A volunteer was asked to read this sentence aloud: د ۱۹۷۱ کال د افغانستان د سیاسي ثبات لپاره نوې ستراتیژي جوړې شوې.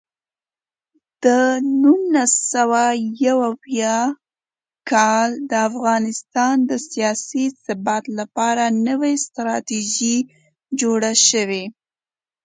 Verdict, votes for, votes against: rejected, 0, 2